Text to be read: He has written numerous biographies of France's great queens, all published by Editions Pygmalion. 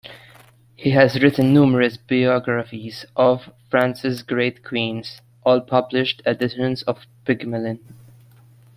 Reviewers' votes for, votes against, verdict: 0, 2, rejected